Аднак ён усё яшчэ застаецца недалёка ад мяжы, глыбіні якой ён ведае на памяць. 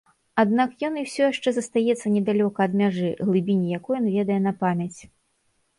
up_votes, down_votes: 2, 0